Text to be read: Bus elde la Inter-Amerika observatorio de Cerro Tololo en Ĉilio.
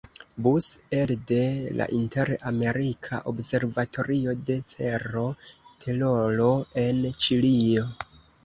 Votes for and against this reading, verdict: 1, 2, rejected